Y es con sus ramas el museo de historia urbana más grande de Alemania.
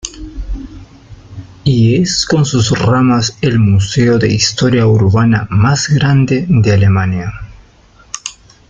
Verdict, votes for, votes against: rejected, 1, 2